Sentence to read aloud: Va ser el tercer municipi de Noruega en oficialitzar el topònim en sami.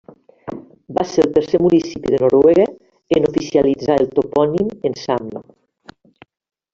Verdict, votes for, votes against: rejected, 1, 2